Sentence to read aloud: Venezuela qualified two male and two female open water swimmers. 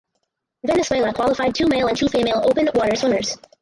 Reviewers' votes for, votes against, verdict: 2, 2, rejected